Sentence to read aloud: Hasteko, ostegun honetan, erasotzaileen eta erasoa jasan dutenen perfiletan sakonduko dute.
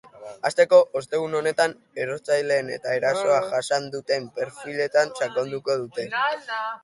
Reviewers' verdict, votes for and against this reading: rejected, 0, 3